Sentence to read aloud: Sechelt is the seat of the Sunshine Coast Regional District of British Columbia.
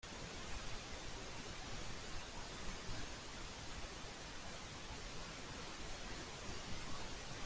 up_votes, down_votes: 0, 2